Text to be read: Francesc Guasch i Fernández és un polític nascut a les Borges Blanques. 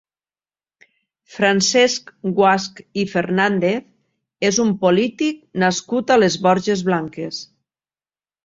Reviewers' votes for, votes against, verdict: 2, 0, accepted